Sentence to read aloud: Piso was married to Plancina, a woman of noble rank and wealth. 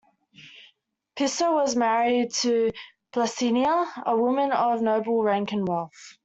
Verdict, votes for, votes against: accepted, 2, 1